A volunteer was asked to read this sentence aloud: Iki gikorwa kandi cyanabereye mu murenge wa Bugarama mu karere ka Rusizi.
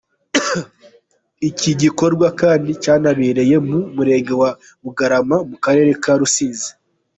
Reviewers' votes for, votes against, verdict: 2, 1, accepted